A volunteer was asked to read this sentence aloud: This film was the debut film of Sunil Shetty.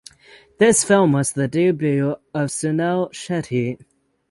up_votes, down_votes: 0, 6